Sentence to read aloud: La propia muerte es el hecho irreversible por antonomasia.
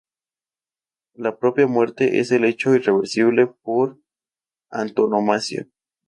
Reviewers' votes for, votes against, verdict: 0, 2, rejected